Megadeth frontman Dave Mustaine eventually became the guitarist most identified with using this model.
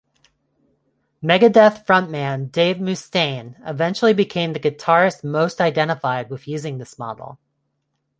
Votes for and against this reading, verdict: 0, 2, rejected